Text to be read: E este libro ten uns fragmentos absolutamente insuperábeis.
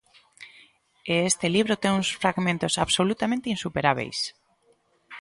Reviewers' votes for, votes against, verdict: 2, 0, accepted